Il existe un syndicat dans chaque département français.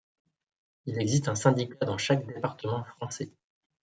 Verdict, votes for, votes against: rejected, 1, 2